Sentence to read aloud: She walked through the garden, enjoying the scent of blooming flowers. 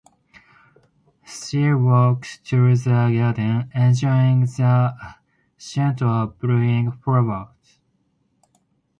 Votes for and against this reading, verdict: 4, 2, accepted